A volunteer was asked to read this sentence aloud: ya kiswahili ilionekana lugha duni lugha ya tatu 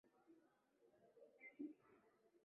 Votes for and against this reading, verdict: 1, 2, rejected